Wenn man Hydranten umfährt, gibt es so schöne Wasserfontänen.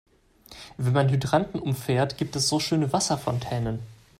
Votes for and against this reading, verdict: 2, 0, accepted